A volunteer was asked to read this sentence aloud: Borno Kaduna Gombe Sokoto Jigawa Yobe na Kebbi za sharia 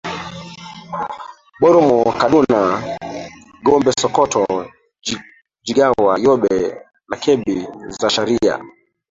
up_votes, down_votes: 0, 2